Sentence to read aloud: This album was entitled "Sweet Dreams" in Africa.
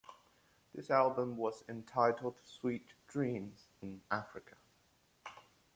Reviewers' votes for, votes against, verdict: 2, 1, accepted